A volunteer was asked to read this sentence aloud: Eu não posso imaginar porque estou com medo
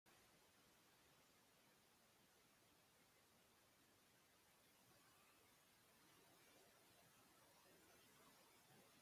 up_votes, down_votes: 0, 2